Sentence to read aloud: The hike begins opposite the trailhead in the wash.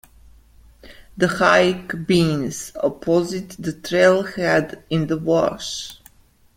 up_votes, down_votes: 1, 2